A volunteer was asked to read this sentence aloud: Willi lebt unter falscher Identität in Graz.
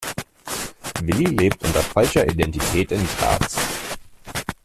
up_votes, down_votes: 1, 2